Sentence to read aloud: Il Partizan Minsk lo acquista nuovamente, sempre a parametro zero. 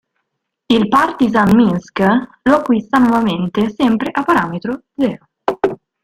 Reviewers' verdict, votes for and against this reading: accepted, 4, 1